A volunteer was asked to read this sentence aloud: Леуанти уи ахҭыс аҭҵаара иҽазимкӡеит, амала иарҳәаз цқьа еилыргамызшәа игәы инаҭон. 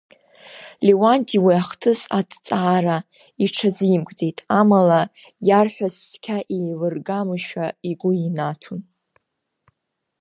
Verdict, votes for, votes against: accepted, 2, 1